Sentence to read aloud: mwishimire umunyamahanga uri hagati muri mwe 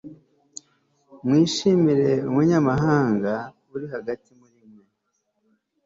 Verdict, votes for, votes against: rejected, 0, 2